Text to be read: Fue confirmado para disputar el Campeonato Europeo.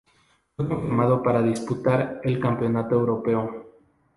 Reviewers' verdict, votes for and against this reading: accepted, 2, 0